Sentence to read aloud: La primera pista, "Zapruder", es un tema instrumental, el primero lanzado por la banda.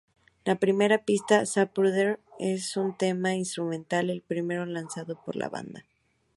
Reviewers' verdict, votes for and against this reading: rejected, 0, 4